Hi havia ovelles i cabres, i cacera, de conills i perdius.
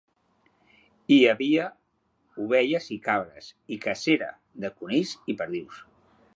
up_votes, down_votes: 2, 0